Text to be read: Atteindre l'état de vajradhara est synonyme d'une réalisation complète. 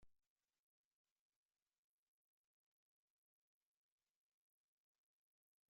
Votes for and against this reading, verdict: 0, 2, rejected